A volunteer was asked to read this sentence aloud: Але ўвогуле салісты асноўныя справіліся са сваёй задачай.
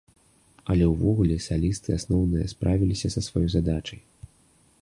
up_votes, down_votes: 2, 0